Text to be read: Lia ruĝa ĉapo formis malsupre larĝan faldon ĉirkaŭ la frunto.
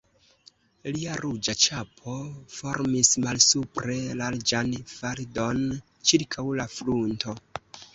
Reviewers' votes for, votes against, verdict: 1, 2, rejected